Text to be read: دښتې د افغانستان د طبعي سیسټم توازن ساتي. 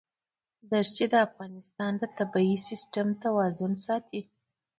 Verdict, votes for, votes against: accepted, 2, 1